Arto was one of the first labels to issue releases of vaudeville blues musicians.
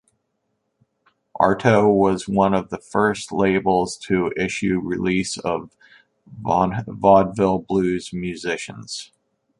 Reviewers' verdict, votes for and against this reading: rejected, 0, 2